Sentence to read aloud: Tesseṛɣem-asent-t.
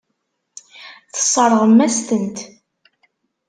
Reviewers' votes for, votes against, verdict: 1, 2, rejected